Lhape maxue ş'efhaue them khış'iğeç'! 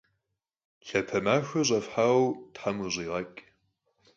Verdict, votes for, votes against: rejected, 0, 4